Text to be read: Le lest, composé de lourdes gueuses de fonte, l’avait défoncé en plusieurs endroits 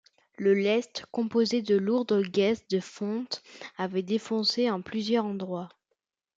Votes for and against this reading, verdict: 0, 2, rejected